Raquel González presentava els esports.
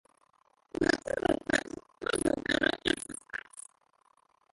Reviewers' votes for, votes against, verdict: 0, 2, rejected